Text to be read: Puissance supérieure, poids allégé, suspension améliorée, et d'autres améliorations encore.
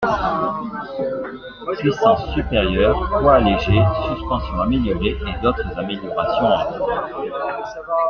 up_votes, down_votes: 2, 1